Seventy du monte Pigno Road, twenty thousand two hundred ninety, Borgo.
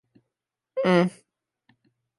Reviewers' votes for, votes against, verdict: 0, 2, rejected